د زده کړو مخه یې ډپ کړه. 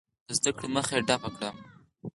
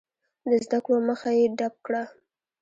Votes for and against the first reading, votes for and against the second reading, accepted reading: 4, 0, 1, 2, first